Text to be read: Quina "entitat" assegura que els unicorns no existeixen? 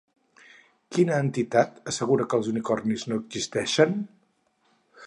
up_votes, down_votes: 0, 4